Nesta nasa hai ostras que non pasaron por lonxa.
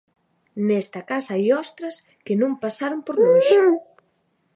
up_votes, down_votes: 0, 2